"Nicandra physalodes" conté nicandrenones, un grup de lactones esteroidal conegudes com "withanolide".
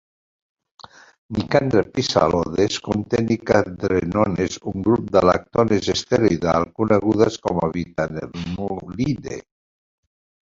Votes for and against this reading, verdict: 0, 2, rejected